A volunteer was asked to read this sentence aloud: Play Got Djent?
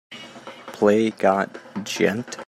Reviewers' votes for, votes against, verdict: 2, 0, accepted